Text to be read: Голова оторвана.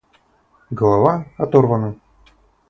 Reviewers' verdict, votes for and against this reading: accepted, 4, 0